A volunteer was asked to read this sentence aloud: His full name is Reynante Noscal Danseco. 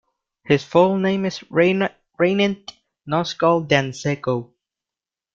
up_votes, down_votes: 0, 2